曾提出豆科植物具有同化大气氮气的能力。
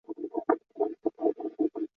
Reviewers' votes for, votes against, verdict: 0, 2, rejected